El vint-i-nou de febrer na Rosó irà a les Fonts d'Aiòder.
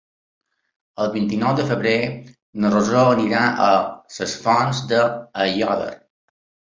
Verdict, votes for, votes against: rejected, 1, 2